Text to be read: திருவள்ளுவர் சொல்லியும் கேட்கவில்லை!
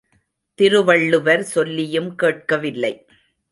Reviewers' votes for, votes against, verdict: 0, 2, rejected